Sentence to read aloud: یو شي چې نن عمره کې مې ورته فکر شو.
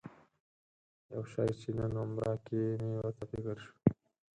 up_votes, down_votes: 4, 2